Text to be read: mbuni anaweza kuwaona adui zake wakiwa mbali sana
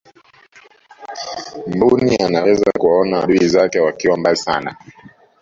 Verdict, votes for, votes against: accepted, 2, 1